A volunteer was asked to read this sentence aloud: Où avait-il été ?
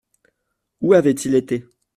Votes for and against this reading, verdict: 2, 0, accepted